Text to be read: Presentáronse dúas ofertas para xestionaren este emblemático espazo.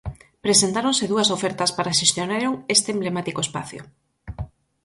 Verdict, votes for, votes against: rejected, 0, 4